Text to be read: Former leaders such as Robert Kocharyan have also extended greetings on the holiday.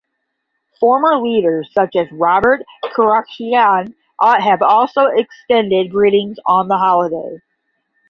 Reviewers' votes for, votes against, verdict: 5, 10, rejected